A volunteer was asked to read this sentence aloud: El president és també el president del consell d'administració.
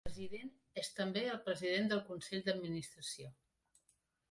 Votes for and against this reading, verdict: 1, 2, rejected